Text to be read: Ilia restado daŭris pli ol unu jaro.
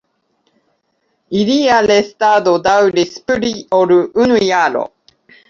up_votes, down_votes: 2, 0